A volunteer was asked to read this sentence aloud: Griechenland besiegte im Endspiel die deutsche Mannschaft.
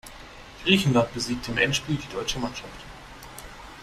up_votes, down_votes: 2, 0